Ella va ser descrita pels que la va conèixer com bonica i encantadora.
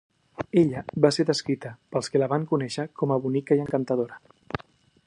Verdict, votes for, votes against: rejected, 1, 2